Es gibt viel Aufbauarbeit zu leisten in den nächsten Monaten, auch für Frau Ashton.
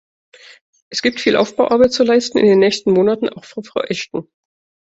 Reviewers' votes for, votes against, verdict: 2, 1, accepted